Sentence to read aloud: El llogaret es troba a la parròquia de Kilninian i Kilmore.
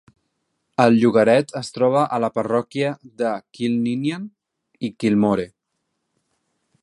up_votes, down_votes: 3, 0